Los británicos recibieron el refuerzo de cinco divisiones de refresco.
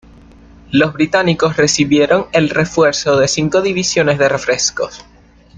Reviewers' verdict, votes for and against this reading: accepted, 2, 1